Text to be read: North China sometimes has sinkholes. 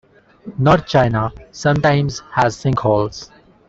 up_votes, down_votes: 2, 0